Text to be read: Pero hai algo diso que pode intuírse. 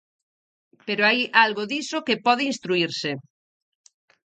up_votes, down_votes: 0, 4